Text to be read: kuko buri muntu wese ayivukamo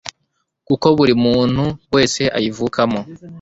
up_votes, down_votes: 2, 0